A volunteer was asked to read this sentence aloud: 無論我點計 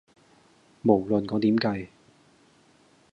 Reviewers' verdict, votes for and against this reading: accepted, 2, 0